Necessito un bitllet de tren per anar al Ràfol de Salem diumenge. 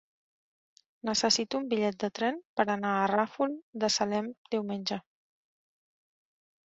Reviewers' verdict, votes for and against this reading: rejected, 1, 2